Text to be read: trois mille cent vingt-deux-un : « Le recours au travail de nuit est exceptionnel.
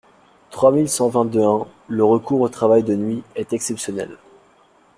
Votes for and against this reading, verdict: 2, 0, accepted